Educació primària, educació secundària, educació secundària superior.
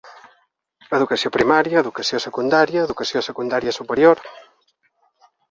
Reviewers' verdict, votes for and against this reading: accepted, 2, 0